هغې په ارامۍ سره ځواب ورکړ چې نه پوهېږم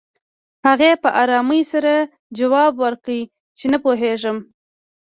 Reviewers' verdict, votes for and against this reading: rejected, 1, 2